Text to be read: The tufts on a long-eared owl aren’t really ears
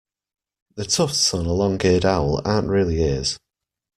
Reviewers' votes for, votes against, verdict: 2, 0, accepted